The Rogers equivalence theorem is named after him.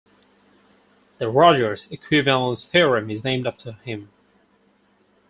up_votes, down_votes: 4, 0